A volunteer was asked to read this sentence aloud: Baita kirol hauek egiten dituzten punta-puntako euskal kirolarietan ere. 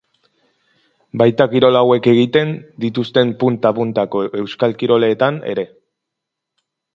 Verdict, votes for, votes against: rejected, 0, 2